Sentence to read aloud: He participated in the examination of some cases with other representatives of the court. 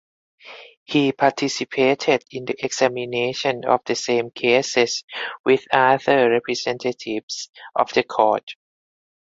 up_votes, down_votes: 0, 2